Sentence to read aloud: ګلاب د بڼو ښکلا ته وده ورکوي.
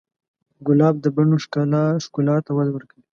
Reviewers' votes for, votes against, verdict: 1, 2, rejected